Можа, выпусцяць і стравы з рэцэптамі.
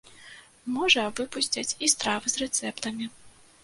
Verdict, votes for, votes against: accepted, 2, 0